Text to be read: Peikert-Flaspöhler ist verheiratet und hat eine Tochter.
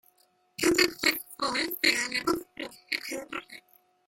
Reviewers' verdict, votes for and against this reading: rejected, 0, 2